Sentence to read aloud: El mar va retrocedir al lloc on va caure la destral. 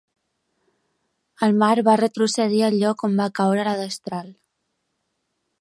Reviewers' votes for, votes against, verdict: 3, 0, accepted